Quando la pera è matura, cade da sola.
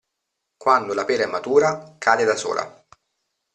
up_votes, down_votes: 2, 1